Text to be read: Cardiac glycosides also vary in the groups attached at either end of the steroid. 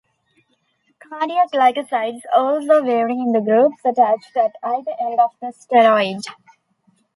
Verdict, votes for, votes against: accepted, 2, 0